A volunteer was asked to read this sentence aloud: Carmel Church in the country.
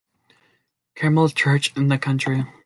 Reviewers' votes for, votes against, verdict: 2, 1, accepted